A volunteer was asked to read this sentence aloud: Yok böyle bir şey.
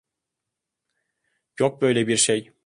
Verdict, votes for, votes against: accepted, 2, 0